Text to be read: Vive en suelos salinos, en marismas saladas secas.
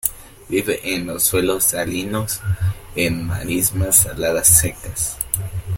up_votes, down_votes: 1, 2